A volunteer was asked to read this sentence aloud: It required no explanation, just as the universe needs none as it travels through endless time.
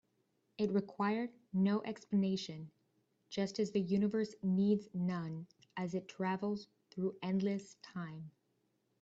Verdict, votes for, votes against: accepted, 2, 0